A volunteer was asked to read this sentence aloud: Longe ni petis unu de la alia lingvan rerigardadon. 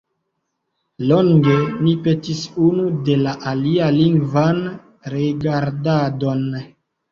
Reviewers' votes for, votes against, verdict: 1, 2, rejected